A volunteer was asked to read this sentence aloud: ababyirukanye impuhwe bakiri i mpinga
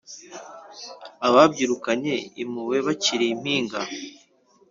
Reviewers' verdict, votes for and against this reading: rejected, 1, 3